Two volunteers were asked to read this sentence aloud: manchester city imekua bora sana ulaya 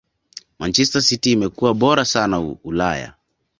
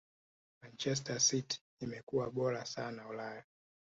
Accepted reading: first